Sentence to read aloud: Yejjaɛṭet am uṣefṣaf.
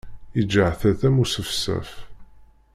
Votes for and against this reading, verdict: 1, 2, rejected